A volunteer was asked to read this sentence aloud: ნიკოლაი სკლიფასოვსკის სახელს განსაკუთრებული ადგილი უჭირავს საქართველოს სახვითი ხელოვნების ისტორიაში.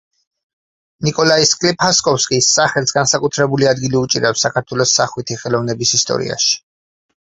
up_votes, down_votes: 0, 4